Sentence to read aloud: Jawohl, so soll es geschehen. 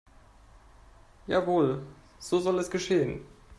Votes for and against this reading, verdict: 2, 0, accepted